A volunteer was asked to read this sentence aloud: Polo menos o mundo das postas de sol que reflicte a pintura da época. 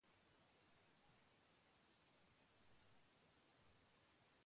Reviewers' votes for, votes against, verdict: 0, 2, rejected